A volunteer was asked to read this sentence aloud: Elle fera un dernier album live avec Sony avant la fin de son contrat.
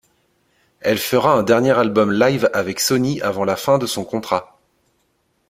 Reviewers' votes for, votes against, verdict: 2, 0, accepted